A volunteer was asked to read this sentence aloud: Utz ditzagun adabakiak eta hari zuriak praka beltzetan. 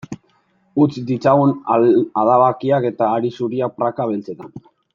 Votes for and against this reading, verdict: 0, 2, rejected